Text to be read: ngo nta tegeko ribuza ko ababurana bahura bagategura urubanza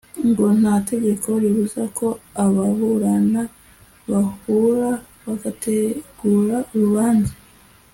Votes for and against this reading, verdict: 2, 0, accepted